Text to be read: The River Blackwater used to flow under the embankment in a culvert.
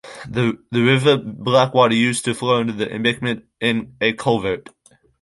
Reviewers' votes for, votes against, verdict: 2, 1, accepted